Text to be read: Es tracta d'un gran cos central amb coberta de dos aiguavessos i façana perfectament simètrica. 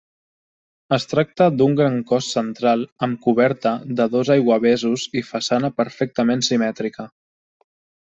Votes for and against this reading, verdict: 1, 2, rejected